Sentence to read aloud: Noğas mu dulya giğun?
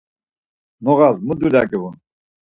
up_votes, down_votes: 4, 2